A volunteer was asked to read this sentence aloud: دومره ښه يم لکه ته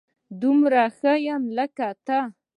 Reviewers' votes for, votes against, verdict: 2, 0, accepted